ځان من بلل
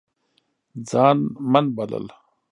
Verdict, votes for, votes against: rejected, 0, 2